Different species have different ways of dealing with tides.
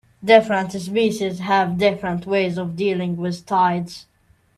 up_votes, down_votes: 1, 2